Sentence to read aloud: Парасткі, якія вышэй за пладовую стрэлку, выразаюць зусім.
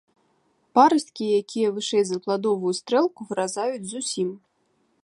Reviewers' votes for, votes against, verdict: 2, 0, accepted